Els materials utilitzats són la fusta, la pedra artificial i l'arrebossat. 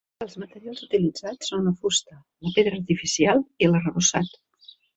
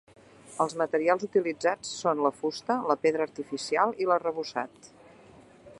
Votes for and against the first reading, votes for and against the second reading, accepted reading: 0, 2, 2, 0, second